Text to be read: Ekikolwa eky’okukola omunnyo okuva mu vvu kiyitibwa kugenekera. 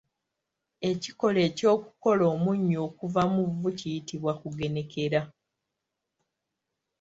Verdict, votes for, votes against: rejected, 1, 2